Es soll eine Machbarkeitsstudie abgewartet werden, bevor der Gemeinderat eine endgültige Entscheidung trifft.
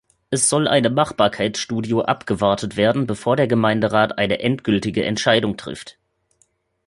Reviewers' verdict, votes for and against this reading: rejected, 0, 2